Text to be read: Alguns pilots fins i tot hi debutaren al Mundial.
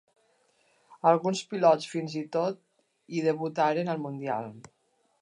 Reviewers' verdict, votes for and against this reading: accepted, 2, 0